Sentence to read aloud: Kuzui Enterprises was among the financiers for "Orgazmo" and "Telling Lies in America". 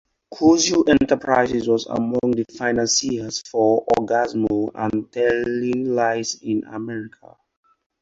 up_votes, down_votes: 2, 0